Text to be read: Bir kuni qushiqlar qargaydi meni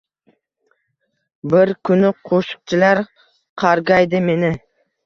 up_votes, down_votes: 1, 2